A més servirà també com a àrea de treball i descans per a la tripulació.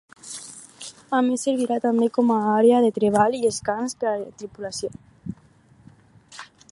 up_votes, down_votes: 4, 0